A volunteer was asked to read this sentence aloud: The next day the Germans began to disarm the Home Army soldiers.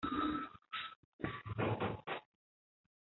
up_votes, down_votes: 0, 2